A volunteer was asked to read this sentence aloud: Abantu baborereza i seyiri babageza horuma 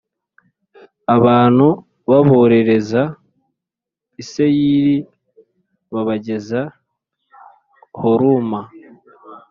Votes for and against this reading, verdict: 2, 0, accepted